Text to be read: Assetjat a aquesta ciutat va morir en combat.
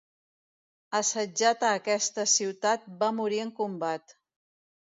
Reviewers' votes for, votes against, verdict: 3, 0, accepted